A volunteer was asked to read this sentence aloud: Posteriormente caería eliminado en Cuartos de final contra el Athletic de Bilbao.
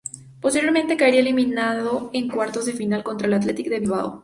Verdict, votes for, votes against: rejected, 0, 2